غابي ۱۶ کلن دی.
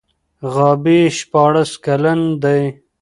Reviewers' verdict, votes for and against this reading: rejected, 0, 2